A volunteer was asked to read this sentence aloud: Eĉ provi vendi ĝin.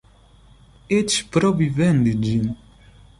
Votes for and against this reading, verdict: 1, 2, rejected